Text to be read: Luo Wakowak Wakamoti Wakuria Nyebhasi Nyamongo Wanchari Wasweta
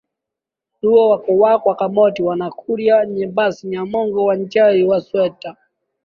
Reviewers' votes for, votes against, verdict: 0, 2, rejected